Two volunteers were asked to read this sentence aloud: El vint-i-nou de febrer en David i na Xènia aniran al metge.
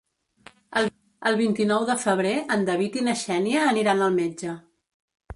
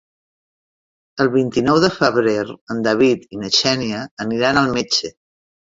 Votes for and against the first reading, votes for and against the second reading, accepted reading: 1, 2, 3, 0, second